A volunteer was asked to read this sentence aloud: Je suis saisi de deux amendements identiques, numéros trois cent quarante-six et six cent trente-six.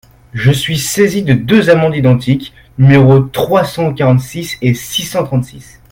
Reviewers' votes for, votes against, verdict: 0, 2, rejected